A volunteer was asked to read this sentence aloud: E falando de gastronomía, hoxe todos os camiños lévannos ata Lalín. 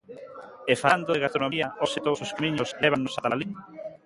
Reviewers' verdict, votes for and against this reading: rejected, 0, 2